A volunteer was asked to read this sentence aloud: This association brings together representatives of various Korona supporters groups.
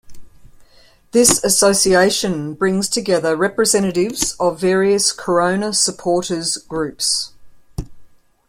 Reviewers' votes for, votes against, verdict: 2, 1, accepted